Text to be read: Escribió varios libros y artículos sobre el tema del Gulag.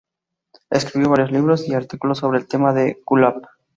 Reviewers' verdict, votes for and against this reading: accepted, 2, 0